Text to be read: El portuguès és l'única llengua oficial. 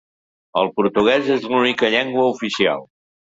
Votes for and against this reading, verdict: 2, 0, accepted